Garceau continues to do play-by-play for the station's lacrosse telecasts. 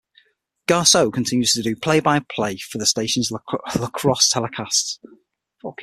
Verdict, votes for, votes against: rejected, 3, 6